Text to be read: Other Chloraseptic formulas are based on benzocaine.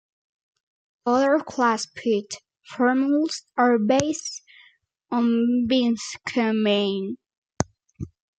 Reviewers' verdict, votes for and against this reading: rejected, 0, 2